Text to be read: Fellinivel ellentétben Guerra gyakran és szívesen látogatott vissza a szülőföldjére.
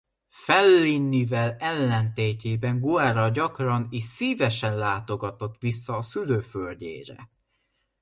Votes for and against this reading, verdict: 0, 2, rejected